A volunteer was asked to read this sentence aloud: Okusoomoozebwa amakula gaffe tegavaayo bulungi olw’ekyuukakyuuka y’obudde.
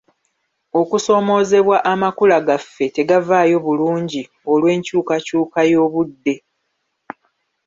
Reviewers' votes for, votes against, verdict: 1, 2, rejected